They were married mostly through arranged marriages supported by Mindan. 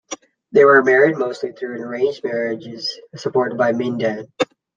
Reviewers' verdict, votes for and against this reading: accepted, 2, 1